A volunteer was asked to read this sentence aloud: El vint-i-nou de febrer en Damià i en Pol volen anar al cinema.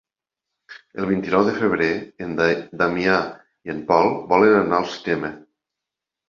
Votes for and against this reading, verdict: 0, 3, rejected